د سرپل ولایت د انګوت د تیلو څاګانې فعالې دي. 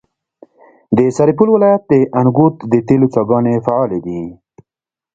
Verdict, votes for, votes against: rejected, 1, 2